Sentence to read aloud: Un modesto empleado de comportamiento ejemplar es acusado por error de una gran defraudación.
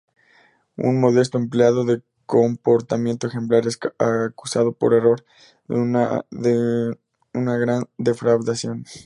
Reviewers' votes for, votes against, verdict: 0, 2, rejected